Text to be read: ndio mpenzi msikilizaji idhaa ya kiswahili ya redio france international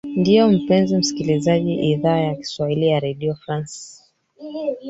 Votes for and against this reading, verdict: 0, 4, rejected